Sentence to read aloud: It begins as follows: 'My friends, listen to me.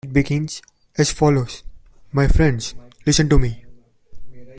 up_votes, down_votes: 1, 2